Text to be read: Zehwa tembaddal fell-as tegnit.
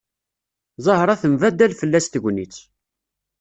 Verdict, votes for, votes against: rejected, 0, 2